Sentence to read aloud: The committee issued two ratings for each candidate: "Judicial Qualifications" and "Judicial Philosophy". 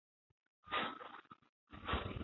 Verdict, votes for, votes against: rejected, 0, 2